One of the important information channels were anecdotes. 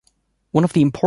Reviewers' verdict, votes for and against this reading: rejected, 1, 2